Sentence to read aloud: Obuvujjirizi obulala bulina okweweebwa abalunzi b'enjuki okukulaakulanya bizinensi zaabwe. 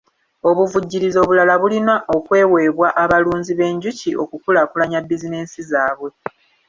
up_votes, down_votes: 1, 2